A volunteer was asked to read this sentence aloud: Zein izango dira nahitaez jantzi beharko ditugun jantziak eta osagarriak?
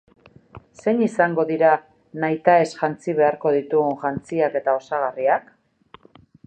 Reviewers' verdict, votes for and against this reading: accepted, 2, 0